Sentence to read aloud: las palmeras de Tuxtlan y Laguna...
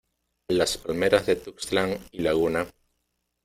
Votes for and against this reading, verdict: 1, 2, rejected